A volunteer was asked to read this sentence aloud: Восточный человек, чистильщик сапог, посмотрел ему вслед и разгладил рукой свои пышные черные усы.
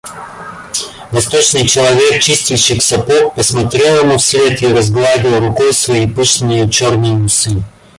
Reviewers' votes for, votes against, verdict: 0, 2, rejected